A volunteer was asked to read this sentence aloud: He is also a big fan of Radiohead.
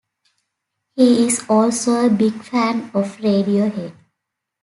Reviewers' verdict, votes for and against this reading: accepted, 2, 0